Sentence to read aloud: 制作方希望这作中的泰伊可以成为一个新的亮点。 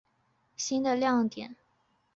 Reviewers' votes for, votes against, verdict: 0, 2, rejected